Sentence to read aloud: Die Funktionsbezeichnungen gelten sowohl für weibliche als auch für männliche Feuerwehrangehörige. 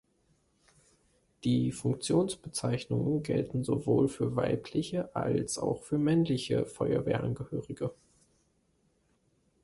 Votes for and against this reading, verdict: 3, 0, accepted